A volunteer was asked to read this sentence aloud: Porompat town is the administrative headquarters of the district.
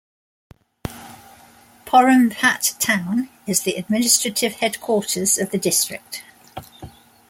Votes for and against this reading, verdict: 2, 0, accepted